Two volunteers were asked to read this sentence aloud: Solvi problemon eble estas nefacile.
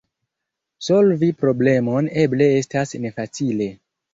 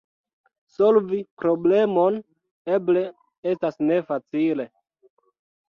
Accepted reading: second